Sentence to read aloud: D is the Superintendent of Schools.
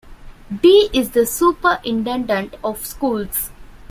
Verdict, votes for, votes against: accepted, 2, 0